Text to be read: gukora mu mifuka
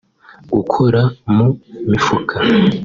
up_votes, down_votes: 2, 1